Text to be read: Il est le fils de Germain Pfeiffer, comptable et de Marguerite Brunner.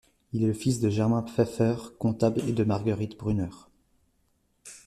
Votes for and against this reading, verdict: 2, 0, accepted